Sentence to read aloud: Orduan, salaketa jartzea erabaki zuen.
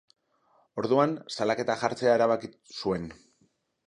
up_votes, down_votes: 0, 2